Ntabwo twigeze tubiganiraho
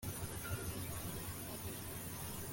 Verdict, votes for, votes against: rejected, 0, 2